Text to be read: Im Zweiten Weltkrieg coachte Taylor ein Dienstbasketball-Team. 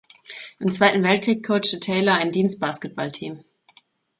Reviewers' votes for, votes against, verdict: 2, 0, accepted